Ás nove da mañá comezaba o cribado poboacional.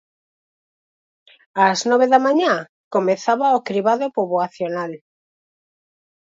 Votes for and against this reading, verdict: 4, 0, accepted